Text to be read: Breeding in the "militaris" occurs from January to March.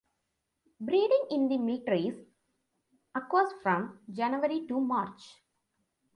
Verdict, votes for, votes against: rejected, 1, 2